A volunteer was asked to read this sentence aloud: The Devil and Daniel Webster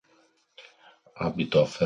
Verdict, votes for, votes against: rejected, 0, 2